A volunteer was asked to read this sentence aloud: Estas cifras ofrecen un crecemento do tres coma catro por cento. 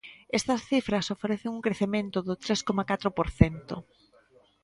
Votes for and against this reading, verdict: 3, 0, accepted